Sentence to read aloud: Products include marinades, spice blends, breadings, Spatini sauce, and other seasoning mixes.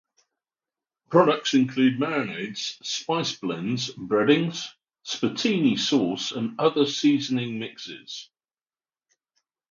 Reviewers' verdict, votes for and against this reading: rejected, 0, 3